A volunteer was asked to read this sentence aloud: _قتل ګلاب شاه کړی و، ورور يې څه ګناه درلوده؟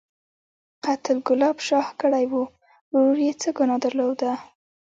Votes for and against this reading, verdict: 0, 2, rejected